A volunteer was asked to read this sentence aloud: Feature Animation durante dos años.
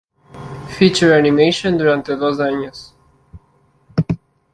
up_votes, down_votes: 2, 0